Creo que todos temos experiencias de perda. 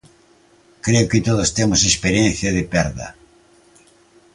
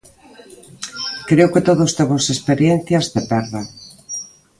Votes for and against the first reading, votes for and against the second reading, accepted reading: 0, 2, 2, 0, second